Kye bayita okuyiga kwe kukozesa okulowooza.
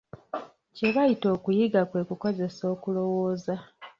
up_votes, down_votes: 1, 2